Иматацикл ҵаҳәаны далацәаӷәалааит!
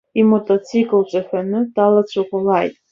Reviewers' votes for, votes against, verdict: 2, 0, accepted